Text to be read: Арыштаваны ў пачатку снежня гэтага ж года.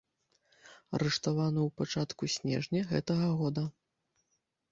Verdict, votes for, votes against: rejected, 0, 2